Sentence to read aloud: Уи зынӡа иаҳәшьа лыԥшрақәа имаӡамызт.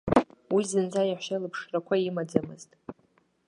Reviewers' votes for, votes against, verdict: 2, 0, accepted